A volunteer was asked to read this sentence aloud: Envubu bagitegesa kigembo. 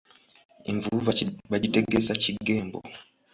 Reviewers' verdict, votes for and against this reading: rejected, 0, 2